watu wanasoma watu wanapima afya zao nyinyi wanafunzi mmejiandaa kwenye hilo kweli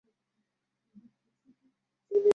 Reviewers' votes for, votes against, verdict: 0, 2, rejected